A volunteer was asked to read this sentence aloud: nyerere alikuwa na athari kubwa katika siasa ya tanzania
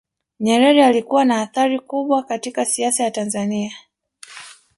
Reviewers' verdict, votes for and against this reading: rejected, 0, 2